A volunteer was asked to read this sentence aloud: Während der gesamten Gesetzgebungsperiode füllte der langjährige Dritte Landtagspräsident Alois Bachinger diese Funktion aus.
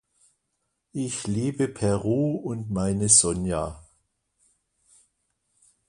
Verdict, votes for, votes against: rejected, 0, 2